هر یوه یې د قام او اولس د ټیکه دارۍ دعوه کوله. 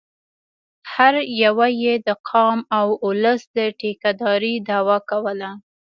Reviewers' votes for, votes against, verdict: 2, 0, accepted